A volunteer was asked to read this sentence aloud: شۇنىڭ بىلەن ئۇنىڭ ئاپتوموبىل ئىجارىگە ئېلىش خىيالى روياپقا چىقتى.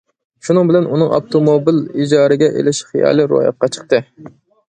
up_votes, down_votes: 2, 0